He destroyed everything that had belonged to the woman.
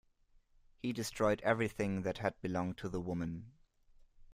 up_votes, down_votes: 2, 0